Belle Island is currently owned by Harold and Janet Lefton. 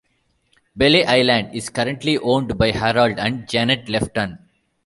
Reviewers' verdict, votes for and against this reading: rejected, 0, 2